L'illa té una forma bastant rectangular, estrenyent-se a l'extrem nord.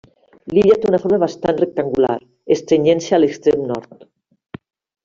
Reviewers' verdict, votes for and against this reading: accepted, 2, 1